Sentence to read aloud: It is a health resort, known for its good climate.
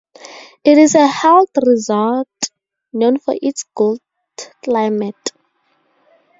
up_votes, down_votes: 4, 0